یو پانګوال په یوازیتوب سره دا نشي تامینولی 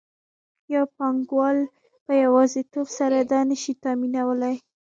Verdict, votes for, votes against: rejected, 0, 2